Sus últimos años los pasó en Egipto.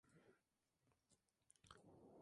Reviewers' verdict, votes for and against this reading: rejected, 0, 2